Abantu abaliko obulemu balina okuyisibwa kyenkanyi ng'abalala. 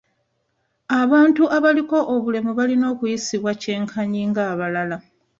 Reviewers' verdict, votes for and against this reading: accepted, 2, 0